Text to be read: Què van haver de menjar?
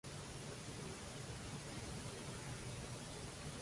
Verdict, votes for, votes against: rejected, 0, 2